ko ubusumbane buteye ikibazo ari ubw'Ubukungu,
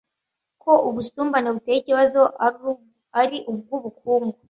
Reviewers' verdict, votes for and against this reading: rejected, 1, 2